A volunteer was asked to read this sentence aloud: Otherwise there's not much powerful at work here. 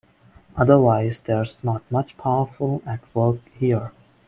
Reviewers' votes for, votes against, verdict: 2, 0, accepted